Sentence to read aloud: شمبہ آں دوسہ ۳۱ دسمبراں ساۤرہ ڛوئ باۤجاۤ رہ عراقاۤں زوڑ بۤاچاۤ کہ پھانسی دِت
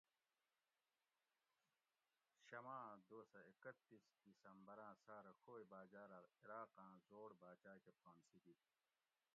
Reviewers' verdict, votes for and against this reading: rejected, 0, 2